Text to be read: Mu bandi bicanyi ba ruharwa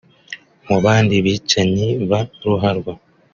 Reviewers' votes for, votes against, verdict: 3, 1, accepted